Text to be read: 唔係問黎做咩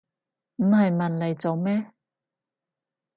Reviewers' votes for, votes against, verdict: 0, 2, rejected